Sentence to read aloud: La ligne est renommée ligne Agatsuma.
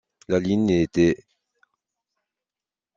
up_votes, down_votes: 0, 2